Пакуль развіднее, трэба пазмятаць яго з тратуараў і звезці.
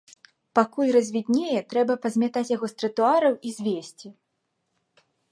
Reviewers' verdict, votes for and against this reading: accepted, 3, 0